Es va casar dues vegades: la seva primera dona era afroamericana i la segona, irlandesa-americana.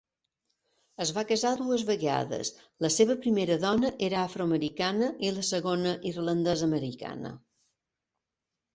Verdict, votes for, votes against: accepted, 3, 0